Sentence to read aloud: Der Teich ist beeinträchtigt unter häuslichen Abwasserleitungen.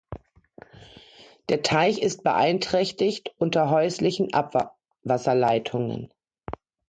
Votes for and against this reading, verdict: 0, 2, rejected